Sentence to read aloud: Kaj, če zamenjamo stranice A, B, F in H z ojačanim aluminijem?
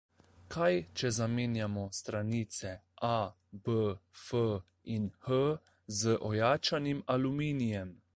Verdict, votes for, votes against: accepted, 2, 0